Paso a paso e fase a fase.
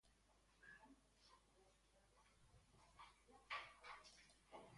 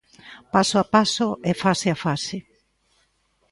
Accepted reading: second